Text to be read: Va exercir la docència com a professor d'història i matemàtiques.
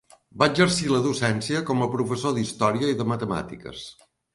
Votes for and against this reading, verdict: 1, 2, rejected